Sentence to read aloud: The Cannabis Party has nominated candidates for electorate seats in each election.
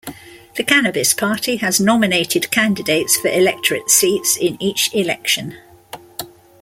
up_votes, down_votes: 2, 0